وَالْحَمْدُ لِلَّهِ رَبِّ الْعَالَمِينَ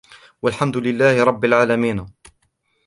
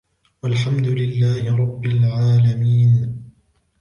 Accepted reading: second